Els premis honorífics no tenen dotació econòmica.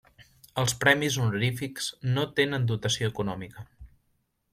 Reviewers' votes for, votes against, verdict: 2, 0, accepted